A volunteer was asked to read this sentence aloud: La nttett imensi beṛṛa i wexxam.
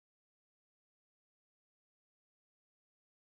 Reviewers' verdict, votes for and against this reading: rejected, 0, 2